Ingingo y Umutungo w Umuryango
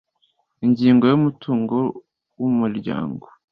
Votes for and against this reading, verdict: 2, 0, accepted